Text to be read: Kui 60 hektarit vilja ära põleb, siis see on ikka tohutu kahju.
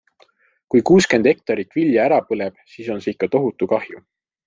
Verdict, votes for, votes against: rejected, 0, 2